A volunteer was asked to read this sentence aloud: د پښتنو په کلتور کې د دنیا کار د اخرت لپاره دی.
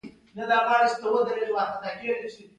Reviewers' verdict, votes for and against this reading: rejected, 0, 2